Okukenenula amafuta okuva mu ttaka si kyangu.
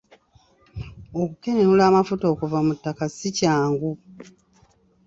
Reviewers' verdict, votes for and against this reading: accepted, 2, 0